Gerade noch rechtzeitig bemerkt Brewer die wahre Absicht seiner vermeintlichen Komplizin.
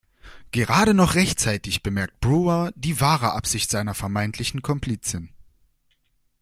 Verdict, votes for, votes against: accepted, 2, 0